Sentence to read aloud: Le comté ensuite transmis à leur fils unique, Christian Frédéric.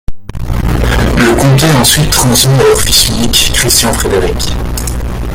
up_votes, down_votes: 0, 2